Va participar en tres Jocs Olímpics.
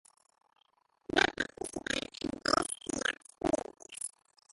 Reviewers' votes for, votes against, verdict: 0, 2, rejected